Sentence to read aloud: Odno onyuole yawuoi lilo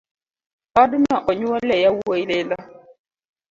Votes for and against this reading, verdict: 2, 0, accepted